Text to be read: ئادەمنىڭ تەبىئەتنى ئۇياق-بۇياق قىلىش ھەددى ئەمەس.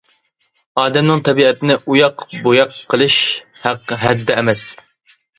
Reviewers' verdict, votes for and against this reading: rejected, 0, 2